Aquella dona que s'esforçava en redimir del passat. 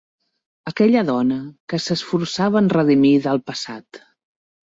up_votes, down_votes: 2, 0